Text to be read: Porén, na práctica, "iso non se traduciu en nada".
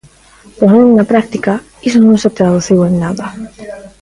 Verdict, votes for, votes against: rejected, 1, 2